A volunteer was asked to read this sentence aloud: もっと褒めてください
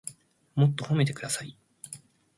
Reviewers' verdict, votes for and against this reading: accepted, 2, 0